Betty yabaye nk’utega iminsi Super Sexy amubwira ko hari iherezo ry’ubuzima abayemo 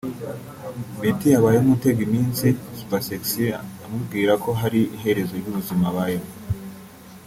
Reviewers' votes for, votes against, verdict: 2, 1, accepted